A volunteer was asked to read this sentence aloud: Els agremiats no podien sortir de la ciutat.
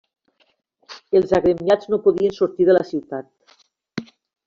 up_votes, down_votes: 3, 0